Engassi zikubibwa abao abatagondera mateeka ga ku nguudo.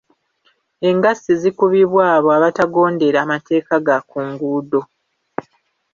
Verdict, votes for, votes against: accepted, 2, 0